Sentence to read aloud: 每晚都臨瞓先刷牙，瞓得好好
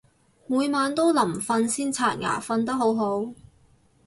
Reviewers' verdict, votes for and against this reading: accepted, 4, 0